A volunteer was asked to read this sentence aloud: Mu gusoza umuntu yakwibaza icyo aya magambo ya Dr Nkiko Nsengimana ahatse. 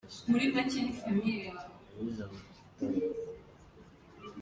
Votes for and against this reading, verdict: 0, 2, rejected